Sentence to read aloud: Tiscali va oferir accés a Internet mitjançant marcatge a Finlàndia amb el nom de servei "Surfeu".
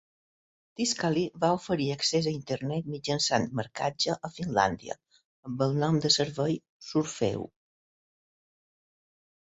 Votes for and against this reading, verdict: 1, 2, rejected